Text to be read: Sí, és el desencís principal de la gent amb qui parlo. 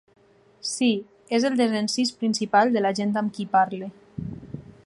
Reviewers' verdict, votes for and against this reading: rejected, 2, 4